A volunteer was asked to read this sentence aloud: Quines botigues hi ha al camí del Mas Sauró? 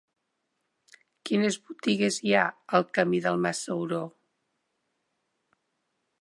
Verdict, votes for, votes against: accepted, 4, 0